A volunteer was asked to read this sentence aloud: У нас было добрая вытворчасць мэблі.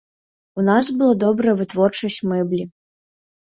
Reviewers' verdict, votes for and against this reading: accepted, 2, 0